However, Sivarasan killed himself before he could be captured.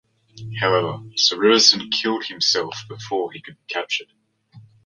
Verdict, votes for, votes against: accepted, 2, 1